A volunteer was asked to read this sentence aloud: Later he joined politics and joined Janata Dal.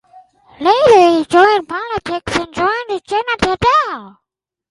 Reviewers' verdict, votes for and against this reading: rejected, 2, 4